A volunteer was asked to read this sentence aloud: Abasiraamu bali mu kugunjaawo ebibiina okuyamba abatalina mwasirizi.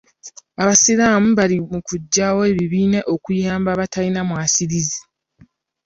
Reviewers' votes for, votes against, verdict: 1, 2, rejected